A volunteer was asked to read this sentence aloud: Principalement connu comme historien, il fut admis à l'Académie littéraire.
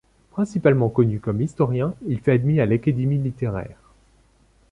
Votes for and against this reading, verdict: 1, 2, rejected